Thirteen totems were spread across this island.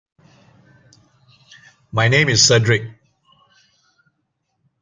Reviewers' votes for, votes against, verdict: 0, 2, rejected